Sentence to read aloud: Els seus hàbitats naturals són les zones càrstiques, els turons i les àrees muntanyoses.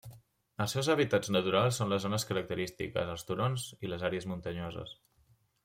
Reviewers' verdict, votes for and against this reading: rejected, 1, 2